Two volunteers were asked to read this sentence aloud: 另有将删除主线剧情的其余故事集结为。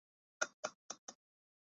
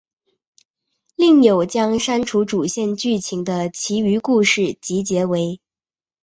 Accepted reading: second